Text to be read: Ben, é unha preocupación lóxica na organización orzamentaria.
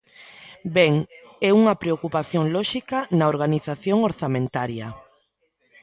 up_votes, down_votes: 2, 0